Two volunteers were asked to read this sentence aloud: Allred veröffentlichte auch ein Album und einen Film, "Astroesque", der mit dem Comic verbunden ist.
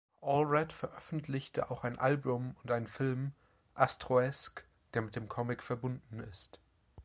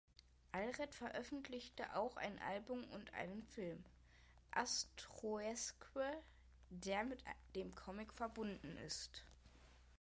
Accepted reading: first